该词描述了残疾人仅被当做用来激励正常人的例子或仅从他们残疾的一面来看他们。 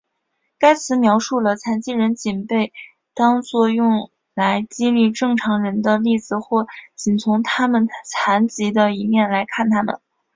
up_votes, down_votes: 6, 0